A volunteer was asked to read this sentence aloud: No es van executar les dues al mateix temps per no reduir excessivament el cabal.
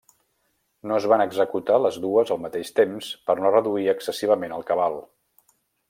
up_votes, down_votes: 3, 0